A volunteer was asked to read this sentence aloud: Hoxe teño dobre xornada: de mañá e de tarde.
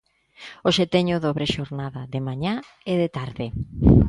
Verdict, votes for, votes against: accepted, 2, 0